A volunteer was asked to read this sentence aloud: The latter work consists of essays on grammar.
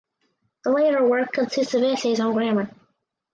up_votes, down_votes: 4, 0